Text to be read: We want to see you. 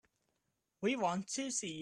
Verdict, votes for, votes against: rejected, 0, 2